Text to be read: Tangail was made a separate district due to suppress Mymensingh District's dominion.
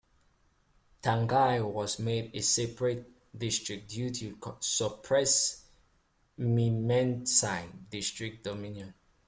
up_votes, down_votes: 0, 2